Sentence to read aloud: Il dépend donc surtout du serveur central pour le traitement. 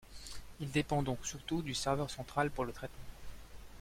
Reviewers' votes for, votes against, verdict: 2, 0, accepted